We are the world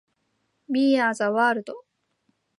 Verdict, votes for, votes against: accepted, 2, 0